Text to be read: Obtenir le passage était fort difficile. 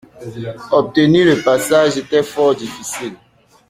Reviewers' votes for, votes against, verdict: 1, 2, rejected